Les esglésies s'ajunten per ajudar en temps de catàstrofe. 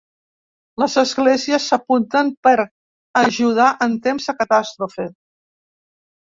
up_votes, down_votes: 2, 3